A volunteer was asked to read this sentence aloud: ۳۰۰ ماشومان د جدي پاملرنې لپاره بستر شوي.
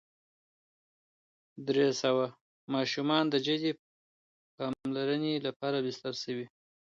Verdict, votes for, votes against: rejected, 0, 2